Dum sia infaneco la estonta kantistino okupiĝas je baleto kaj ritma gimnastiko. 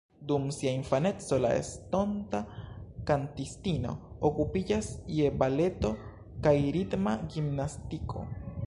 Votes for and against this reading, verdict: 1, 2, rejected